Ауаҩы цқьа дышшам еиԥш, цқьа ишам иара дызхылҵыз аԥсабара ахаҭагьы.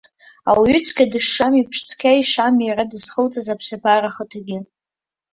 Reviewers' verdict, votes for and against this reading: rejected, 1, 2